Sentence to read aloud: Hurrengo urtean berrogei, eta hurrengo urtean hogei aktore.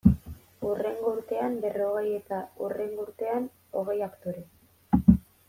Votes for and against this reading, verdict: 0, 2, rejected